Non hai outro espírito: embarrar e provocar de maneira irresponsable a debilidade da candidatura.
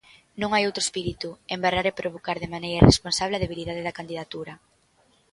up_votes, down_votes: 2, 1